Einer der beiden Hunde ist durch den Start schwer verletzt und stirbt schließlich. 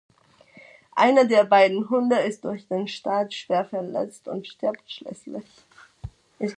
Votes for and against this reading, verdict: 1, 2, rejected